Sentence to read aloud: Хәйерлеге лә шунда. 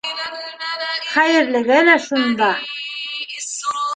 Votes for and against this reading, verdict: 0, 2, rejected